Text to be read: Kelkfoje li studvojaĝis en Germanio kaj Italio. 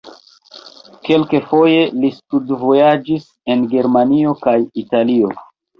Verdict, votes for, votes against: rejected, 0, 2